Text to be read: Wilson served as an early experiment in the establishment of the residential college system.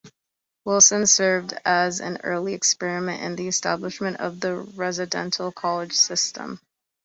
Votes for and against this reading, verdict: 2, 0, accepted